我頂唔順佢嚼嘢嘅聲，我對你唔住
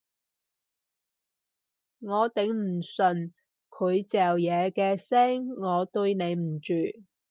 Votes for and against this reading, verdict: 2, 0, accepted